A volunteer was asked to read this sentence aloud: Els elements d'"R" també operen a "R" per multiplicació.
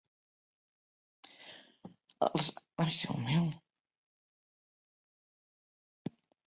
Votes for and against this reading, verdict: 0, 2, rejected